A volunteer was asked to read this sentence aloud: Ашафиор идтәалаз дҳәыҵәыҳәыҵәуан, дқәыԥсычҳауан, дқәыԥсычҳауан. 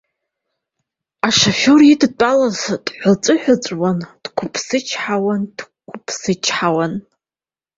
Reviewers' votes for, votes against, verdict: 2, 0, accepted